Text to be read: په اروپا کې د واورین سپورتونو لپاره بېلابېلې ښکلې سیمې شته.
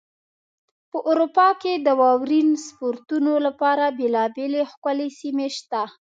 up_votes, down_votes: 3, 1